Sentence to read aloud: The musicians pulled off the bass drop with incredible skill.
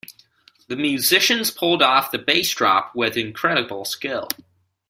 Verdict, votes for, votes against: accepted, 2, 0